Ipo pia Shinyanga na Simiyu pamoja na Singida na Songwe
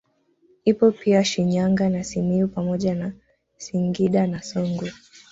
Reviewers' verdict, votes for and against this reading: rejected, 1, 2